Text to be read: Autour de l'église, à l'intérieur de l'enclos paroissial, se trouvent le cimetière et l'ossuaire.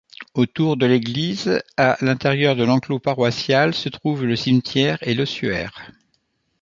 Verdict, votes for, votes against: accepted, 2, 0